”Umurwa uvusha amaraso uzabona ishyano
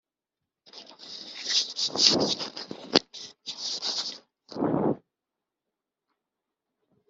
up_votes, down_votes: 2, 3